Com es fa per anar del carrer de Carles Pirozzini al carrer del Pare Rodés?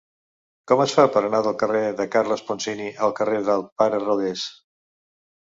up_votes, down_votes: 0, 2